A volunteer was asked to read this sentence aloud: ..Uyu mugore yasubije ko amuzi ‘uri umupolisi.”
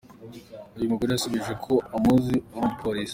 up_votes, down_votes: 2, 1